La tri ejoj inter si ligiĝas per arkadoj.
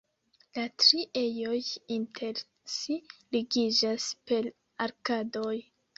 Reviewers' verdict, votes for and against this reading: rejected, 0, 2